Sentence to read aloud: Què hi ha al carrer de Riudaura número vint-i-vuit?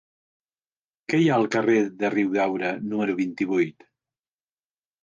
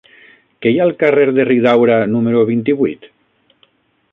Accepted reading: first